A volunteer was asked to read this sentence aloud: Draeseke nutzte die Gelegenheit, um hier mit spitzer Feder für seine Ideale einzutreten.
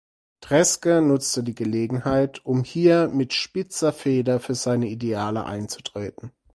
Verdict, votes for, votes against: rejected, 0, 4